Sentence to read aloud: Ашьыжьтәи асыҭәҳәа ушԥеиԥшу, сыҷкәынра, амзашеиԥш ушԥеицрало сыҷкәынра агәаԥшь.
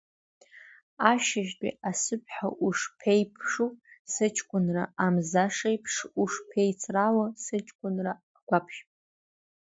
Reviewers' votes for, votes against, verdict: 2, 0, accepted